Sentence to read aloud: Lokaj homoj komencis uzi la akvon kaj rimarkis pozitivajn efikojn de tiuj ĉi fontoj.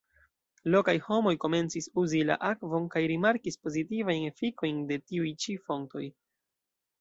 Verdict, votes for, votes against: accepted, 3, 2